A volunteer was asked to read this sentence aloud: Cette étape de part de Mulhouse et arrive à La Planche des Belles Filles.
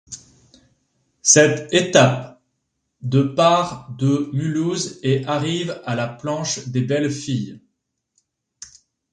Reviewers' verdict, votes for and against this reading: accepted, 2, 0